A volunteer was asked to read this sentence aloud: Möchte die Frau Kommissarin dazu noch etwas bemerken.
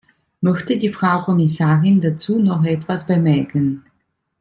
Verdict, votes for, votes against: accepted, 2, 0